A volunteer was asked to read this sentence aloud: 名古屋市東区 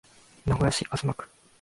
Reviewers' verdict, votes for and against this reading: rejected, 0, 2